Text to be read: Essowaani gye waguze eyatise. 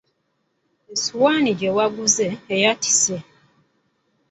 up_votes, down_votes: 2, 1